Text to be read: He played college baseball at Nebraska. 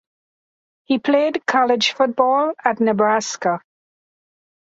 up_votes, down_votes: 0, 2